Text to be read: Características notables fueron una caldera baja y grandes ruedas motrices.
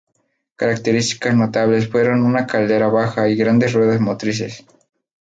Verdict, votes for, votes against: accepted, 2, 0